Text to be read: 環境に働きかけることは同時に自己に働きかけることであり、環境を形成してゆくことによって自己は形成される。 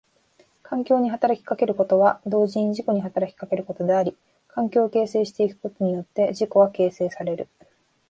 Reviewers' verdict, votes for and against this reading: accepted, 2, 0